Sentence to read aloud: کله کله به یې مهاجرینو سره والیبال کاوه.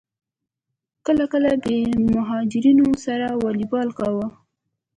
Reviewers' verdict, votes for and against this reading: accepted, 3, 0